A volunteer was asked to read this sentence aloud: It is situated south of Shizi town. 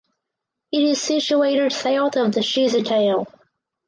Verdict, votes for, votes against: rejected, 0, 4